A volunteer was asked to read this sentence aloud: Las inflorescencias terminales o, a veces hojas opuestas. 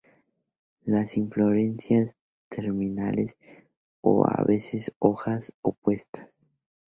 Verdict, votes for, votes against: rejected, 0, 2